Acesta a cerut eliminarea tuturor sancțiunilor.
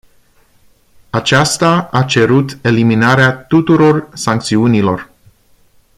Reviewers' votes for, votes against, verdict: 0, 2, rejected